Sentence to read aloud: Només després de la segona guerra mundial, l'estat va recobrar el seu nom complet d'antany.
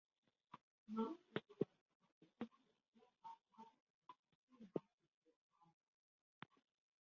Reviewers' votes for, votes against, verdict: 0, 2, rejected